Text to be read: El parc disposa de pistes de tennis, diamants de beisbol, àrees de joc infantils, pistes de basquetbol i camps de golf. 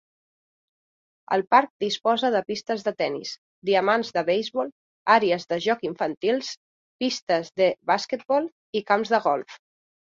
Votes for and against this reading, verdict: 2, 0, accepted